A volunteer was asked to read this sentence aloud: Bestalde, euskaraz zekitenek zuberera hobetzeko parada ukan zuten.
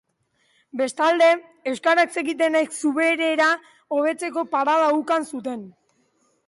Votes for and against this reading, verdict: 5, 2, accepted